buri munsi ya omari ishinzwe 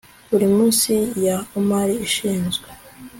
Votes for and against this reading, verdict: 2, 0, accepted